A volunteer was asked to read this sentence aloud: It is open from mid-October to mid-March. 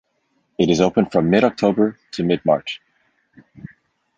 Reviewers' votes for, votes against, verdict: 2, 0, accepted